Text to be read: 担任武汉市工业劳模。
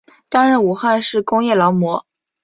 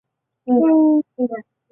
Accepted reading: first